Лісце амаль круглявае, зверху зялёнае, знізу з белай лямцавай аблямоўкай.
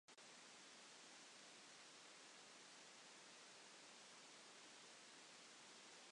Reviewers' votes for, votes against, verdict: 0, 2, rejected